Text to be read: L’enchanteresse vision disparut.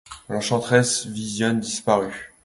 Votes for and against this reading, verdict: 2, 0, accepted